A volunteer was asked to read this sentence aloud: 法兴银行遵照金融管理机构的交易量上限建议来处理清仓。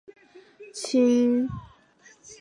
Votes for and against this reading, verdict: 0, 3, rejected